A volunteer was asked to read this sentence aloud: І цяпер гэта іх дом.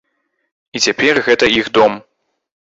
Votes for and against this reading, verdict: 2, 0, accepted